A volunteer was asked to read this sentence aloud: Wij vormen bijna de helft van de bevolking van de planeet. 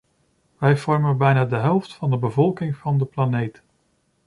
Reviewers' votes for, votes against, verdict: 2, 0, accepted